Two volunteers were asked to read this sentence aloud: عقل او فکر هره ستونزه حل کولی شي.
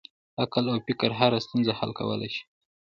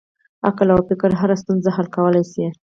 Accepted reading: first